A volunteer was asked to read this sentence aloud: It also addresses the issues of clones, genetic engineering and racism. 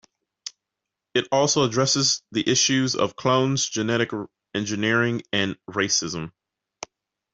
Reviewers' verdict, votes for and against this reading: accepted, 2, 0